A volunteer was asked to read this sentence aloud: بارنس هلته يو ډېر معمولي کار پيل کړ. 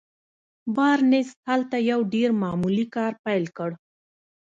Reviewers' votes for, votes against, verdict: 1, 2, rejected